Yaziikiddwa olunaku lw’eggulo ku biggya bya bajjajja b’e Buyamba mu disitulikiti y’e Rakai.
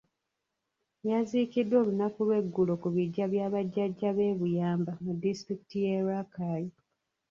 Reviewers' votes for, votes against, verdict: 0, 2, rejected